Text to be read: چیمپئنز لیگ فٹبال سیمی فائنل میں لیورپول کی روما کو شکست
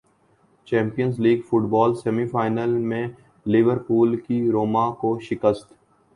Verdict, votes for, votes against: accepted, 2, 0